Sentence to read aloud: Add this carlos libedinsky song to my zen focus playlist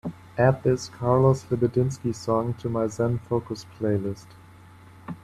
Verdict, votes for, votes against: accepted, 3, 0